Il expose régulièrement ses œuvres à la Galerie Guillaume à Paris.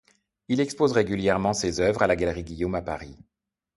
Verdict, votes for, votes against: accepted, 2, 0